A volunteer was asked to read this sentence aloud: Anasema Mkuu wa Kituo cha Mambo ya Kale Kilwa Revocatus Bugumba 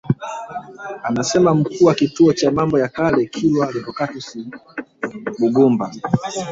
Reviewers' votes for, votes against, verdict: 1, 2, rejected